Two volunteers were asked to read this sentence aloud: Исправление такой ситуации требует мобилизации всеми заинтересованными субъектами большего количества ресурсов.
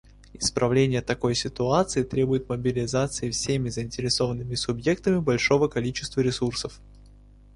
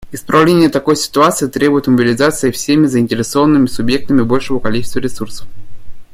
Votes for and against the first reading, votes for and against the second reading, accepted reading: 0, 2, 2, 0, second